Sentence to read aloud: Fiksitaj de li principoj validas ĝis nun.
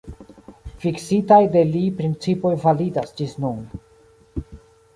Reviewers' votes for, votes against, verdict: 2, 0, accepted